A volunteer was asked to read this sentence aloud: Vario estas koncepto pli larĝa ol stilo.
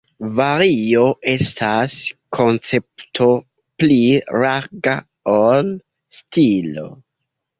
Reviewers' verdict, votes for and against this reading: rejected, 0, 2